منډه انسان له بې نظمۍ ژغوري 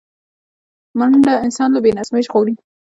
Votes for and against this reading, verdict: 1, 2, rejected